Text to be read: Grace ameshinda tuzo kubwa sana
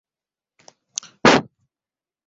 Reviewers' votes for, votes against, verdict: 0, 3, rejected